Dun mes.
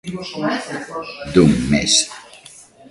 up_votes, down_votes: 0, 2